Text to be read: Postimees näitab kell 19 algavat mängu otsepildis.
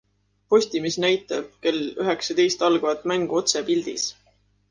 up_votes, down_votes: 0, 2